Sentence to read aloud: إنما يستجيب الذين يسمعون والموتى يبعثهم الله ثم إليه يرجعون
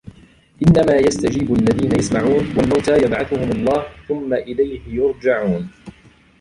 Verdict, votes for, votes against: rejected, 0, 2